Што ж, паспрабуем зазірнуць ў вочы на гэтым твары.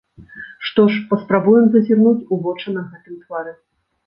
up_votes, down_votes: 2, 0